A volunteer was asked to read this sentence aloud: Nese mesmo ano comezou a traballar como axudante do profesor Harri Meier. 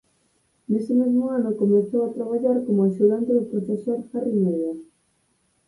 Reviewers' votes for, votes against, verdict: 2, 4, rejected